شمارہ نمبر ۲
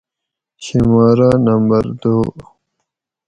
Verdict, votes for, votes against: rejected, 0, 2